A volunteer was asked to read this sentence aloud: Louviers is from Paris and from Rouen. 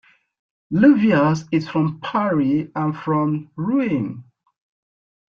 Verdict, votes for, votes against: rejected, 0, 2